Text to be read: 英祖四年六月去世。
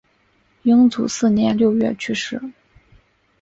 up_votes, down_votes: 2, 0